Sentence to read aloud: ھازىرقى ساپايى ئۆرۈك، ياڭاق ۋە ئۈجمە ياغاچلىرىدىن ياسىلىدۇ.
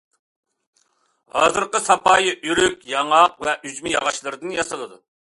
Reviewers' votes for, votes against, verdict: 2, 0, accepted